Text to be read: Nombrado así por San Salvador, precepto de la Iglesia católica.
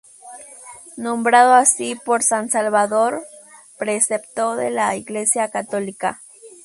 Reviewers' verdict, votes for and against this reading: rejected, 2, 4